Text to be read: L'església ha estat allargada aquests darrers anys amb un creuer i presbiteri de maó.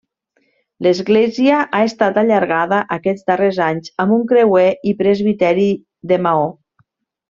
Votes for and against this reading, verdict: 3, 0, accepted